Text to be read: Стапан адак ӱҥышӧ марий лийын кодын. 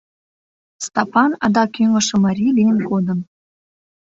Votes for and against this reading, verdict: 2, 0, accepted